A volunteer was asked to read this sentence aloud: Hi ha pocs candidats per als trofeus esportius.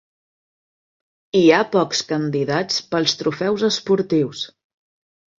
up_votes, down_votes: 1, 2